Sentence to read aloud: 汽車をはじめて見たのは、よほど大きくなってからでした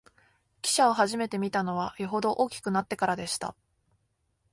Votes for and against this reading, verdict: 2, 0, accepted